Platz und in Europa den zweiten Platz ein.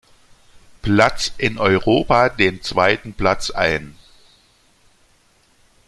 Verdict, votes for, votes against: rejected, 0, 2